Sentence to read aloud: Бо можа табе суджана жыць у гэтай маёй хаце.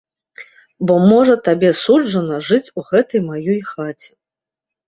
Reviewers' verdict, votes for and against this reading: accepted, 2, 0